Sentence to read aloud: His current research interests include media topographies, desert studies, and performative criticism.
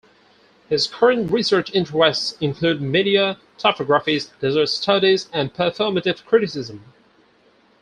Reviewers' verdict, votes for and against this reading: accepted, 4, 0